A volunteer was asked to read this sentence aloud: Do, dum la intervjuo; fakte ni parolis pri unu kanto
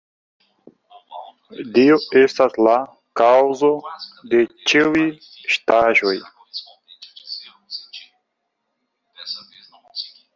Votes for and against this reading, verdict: 0, 2, rejected